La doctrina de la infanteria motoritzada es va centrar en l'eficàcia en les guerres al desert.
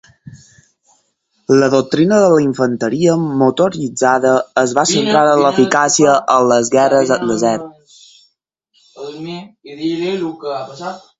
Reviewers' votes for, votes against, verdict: 2, 4, rejected